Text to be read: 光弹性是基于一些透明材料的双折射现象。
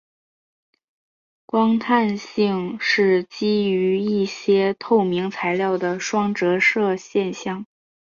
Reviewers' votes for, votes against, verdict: 2, 0, accepted